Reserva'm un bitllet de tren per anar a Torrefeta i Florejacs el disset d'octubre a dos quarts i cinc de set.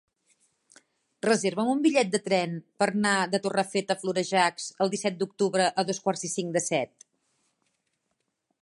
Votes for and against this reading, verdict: 2, 3, rejected